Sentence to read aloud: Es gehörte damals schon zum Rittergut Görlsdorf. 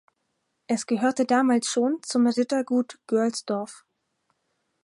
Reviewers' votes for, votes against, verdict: 4, 0, accepted